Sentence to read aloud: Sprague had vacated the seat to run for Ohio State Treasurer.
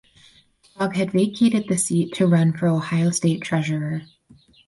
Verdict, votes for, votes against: rejected, 0, 4